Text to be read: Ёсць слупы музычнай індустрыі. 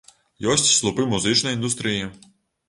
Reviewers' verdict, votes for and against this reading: accepted, 2, 0